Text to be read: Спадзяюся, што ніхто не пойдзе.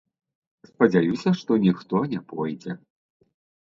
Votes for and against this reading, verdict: 0, 2, rejected